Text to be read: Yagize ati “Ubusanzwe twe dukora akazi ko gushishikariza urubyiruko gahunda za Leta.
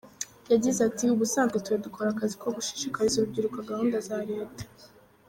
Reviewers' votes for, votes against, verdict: 1, 2, rejected